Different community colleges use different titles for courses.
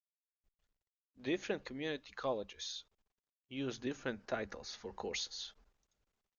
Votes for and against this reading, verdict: 1, 2, rejected